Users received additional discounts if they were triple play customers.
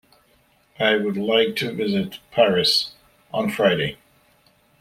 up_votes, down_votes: 0, 2